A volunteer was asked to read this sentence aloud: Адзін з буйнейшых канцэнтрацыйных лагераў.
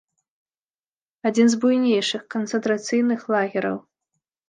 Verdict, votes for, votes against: accepted, 2, 0